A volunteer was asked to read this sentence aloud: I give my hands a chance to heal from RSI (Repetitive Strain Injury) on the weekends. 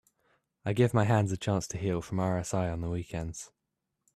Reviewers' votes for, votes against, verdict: 1, 2, rejected